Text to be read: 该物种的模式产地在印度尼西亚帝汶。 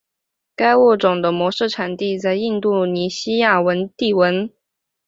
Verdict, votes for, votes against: rejected, 0, 5